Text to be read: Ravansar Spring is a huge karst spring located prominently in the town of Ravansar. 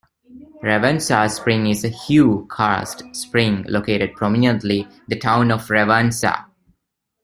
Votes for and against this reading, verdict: 1, 2, rejected